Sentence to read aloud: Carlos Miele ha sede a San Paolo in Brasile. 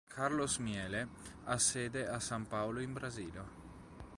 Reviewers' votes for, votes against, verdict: 2, 0, accepted